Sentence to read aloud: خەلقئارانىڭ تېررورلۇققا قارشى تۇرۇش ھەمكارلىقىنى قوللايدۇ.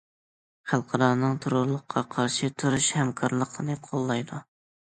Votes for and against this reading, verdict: 1, 2, rejected